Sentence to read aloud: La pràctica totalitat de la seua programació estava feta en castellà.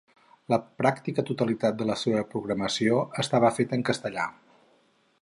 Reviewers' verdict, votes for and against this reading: rejected, 2, 2